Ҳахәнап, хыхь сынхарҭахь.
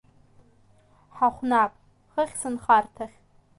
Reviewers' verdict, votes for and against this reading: accepted, 2, 0